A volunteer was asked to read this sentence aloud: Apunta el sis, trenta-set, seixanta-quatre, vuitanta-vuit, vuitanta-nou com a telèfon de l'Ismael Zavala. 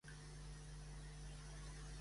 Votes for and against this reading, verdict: 0, 2, rejected